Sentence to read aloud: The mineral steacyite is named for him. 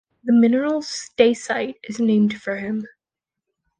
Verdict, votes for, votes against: accepted, 2, 0